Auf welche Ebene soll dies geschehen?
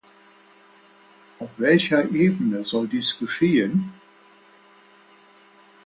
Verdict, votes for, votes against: accepted, 2, 0